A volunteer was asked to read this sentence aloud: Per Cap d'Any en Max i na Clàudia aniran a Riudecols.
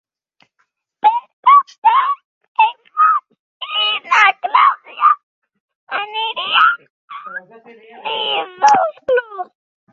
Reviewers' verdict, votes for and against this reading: rejected, 0, 2